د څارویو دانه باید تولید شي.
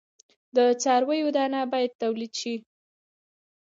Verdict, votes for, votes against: accepted, 2, 0